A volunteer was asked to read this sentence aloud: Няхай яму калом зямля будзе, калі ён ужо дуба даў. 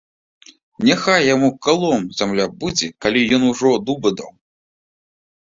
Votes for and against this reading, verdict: 2, 0, accepted